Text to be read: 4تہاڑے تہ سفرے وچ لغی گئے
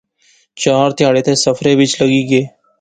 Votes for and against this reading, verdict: 0, 2, rejected